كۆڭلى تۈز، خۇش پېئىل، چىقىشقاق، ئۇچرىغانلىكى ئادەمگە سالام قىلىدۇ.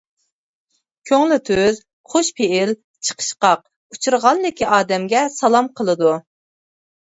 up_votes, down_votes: 2, 0